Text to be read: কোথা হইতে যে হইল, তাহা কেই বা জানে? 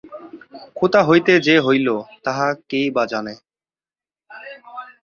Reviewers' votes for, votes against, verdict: 9, 5, accepted